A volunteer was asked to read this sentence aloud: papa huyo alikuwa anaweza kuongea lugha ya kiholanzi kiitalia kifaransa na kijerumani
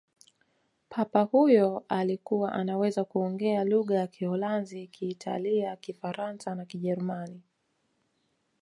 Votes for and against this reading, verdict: 2, 1, accepted